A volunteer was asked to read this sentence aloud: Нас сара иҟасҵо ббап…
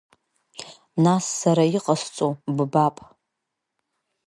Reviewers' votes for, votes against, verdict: 1, 2, rejected